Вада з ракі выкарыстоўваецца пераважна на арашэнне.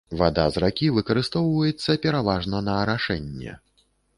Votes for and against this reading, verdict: 2, 0, accepted